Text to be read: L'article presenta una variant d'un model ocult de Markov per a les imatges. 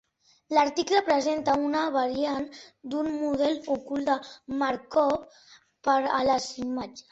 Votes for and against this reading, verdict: 2, 0, accepted